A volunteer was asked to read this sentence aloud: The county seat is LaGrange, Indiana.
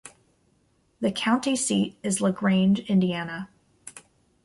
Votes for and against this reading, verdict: 2, 0, accepted